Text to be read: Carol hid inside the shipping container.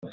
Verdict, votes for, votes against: rejected, 0, 2